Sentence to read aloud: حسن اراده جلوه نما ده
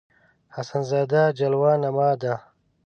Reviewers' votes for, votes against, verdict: 1, 2, rejected